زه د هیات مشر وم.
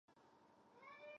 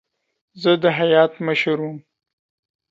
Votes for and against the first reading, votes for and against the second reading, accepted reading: 0, 2, 2, 0, second